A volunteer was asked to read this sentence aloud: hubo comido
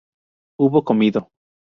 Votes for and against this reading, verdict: 2, 0, accepted